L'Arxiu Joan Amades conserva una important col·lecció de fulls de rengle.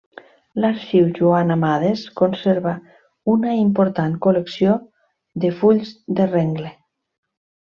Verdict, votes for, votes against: accepted, 3, 0